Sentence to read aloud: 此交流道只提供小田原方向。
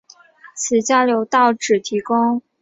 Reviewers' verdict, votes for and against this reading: rejected, 0, 2